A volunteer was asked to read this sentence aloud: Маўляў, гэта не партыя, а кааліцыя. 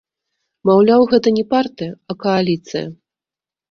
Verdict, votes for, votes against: accepted, 2, 1